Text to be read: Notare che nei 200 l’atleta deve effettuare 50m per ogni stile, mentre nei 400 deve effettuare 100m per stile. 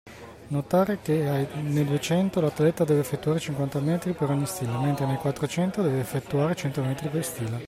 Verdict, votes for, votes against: rejected, 0, 2